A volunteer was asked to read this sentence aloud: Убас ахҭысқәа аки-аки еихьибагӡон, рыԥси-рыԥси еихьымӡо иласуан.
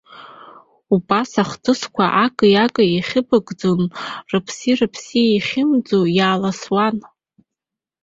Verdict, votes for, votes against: rejected, 1, 2